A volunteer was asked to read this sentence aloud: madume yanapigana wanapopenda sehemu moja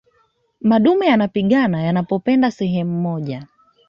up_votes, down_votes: 2, 1